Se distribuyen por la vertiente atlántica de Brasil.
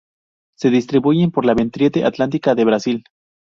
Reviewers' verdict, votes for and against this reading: rejected, 0, 2